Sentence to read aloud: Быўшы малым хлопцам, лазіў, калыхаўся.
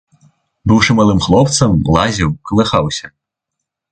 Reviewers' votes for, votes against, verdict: 2, 0, accepted